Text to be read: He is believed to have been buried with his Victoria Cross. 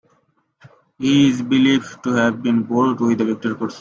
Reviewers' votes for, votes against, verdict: 0, 2, rejected